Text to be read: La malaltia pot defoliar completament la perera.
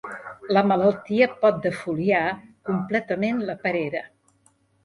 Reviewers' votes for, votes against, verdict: 2, 0, accepted